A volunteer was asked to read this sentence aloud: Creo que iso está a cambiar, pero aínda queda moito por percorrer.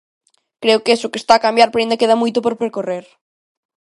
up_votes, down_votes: 0, 2